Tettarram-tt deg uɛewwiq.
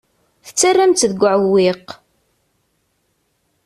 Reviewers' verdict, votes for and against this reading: accepted, 2, 0